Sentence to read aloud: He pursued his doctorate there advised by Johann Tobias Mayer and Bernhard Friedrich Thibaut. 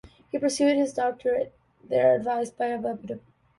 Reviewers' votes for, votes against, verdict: 0, 2, rejected